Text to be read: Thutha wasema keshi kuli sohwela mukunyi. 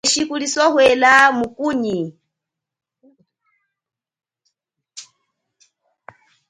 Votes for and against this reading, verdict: 2, 0, accepted